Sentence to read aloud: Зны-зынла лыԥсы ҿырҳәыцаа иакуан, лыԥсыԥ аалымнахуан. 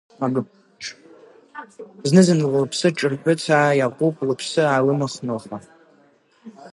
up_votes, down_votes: 0, 6